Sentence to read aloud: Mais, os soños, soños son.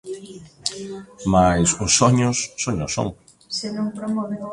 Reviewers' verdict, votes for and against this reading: rejected, 1, 2